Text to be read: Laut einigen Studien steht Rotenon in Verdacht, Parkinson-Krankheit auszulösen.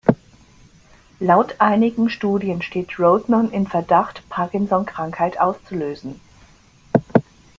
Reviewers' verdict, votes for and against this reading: rejected, 1, 2